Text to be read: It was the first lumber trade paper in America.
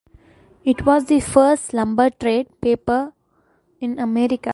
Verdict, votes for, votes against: accepted, 2, 1